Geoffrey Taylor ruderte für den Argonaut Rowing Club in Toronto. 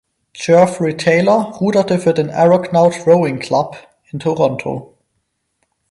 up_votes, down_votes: 2, 4